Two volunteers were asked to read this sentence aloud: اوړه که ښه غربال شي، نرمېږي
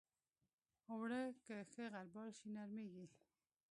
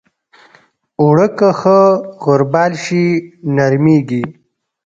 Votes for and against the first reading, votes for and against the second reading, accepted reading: 0, 2, 2, 0, second